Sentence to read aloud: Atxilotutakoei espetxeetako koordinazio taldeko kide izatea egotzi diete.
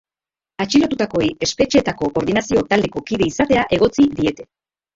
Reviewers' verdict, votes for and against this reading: accepted, 2, 0